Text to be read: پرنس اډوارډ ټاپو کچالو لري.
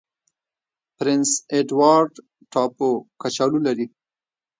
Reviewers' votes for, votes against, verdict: 1, 2, rejected